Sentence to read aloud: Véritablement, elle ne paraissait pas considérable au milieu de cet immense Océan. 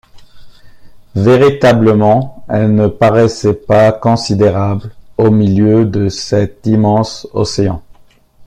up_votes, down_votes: 2, 0